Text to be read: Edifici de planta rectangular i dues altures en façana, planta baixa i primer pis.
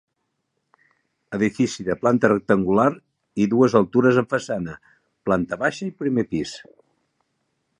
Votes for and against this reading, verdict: 2, 0, accepted